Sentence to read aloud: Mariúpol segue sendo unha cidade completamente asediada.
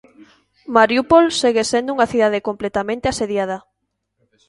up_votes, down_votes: 2, 0